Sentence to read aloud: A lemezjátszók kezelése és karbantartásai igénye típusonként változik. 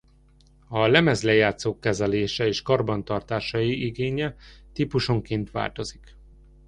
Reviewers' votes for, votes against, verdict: 0, 2, rejected